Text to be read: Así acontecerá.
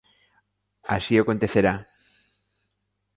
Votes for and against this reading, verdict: 2, 0, accepted